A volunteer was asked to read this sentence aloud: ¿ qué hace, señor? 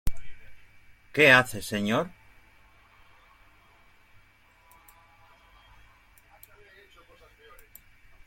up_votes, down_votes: 2, 0